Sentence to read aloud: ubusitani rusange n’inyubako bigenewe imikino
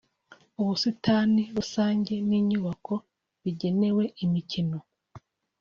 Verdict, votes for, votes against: accepted, 2, 0